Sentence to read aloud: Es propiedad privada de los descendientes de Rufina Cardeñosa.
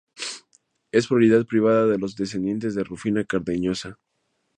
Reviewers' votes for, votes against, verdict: 0, 2, rejected